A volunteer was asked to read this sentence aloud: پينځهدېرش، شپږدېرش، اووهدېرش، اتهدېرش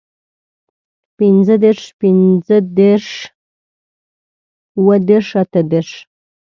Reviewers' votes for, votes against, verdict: 1, 2, rejected